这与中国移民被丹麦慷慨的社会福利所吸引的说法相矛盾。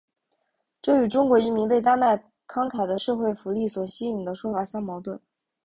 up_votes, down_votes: 0, 2